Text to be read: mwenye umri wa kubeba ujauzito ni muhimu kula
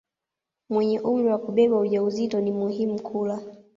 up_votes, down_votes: 2, 0